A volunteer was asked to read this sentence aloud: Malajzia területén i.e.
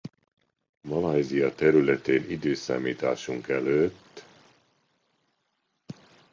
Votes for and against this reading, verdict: 0, 2, rejected